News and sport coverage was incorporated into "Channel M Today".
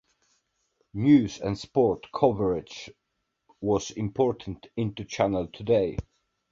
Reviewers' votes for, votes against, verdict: 2, 1, accepted